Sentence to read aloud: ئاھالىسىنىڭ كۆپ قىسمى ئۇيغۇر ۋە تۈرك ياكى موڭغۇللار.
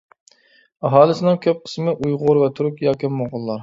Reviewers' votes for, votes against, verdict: 2, 0, accepted